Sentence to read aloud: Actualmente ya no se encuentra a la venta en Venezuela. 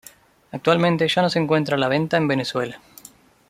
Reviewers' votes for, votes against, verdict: 2, 0, accepted